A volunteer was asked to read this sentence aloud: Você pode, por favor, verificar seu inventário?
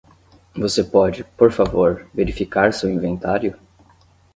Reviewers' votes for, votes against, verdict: 10, 0, accepted